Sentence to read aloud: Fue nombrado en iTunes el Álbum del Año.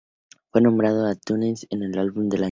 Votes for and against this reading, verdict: 2, 0, accepted